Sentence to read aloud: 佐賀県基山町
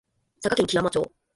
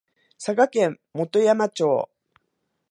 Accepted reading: second